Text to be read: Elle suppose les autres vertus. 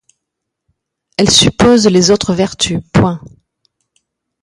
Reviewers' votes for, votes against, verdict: 1, 2, rejected